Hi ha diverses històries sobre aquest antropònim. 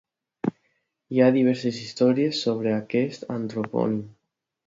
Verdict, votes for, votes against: accepted, 2, 0